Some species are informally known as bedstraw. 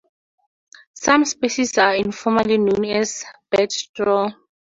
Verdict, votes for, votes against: accepted, 2, 0